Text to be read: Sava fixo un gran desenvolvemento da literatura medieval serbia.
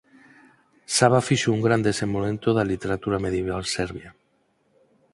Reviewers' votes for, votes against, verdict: 2, 4, rejected